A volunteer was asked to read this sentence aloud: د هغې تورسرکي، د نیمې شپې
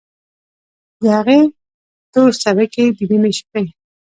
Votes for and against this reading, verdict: 1, 2, rejected